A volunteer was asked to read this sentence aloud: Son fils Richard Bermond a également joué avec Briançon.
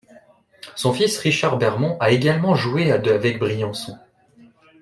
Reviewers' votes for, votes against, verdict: 0, 2, rejected